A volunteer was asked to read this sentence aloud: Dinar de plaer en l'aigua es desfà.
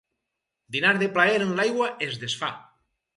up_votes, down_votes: 4, 0